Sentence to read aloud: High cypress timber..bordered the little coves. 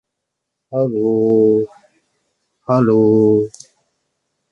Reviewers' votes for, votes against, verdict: 0, 2, rejected